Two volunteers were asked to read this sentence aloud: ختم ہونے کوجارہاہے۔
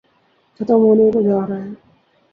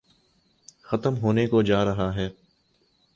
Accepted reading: second